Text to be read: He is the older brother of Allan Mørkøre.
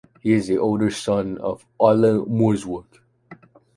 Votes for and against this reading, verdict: 0, 2, rejected